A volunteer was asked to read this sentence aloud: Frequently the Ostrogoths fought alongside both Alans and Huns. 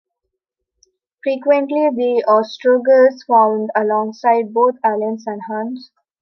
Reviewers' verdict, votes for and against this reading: accepted, 2, 1